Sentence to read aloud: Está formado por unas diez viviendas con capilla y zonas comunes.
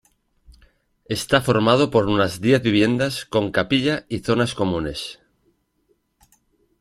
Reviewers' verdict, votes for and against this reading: accepted, 2, 0